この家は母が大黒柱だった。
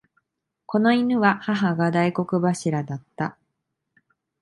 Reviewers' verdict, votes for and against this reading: rejected, 0, 2